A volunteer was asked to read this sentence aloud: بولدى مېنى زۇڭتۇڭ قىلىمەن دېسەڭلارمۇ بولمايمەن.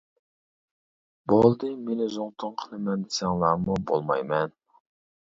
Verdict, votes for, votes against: accepted, 2, 0